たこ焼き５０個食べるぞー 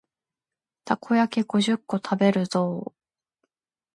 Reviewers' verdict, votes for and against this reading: rejected, 0, 2